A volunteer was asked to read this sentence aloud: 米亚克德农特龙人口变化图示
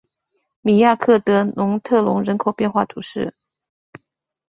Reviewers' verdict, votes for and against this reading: accepted, 2, 0